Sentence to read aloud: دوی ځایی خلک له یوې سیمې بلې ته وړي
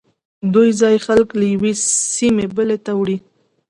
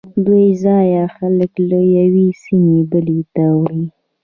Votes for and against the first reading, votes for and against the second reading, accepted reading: 2, 0, 1, 2, first